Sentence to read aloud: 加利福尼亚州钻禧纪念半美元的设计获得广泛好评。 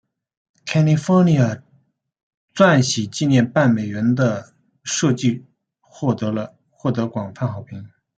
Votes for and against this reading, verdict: 0, 2, rejected